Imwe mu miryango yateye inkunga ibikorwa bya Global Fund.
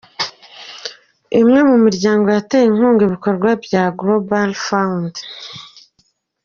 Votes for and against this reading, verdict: 2, 0, accepted